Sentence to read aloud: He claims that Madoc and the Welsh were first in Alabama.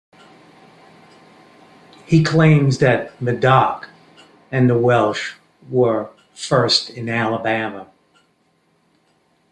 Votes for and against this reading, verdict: 8, 1, accepted